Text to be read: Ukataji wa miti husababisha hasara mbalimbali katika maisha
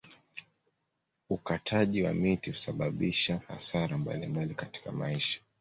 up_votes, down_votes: 2, 0